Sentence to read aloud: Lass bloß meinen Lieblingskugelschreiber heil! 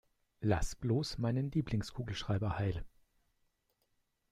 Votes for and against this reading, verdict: 2, 0, accepted